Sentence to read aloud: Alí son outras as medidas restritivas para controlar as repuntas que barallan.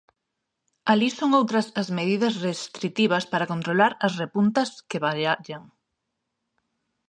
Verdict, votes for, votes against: rejected, 0, 2